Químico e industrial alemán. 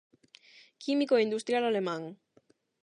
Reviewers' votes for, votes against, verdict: 8, 0, accepted